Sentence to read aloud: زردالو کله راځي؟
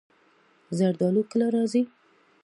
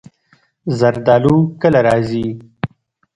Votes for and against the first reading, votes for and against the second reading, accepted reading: 2, 0, 0, 2, first